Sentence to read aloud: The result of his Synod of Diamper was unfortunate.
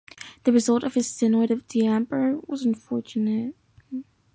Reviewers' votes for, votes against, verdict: 1, 2, rejected